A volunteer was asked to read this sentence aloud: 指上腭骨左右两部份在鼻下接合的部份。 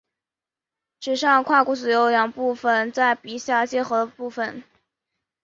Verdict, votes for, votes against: rejected, 1, 2